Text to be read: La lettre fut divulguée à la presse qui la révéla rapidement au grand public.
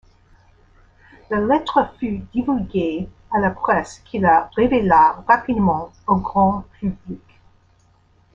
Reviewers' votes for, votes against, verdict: 0, 2, rejected